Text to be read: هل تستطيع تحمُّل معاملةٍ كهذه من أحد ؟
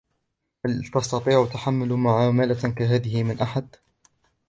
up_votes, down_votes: 2, 0